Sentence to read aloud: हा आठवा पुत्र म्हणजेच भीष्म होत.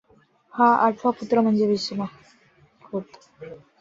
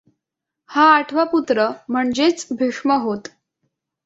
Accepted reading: second